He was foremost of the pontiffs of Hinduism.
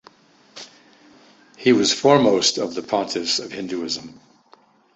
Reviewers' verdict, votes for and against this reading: accepted, 2, 0